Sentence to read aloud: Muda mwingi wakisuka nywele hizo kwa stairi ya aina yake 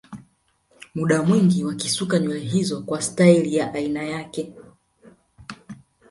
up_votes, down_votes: 2, 0